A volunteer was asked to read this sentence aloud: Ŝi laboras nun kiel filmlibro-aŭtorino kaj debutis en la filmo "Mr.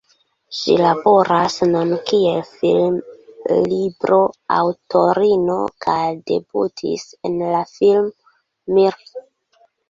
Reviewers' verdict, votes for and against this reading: rejected, 0, 2